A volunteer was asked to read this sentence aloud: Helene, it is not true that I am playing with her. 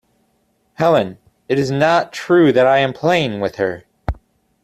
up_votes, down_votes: 2, 0